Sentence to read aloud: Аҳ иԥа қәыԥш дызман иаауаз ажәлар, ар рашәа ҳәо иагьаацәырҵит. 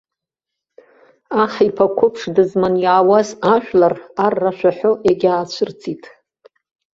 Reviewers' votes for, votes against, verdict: 2, 0, accepted